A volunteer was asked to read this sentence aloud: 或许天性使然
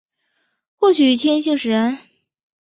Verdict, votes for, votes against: accepted, 6, 1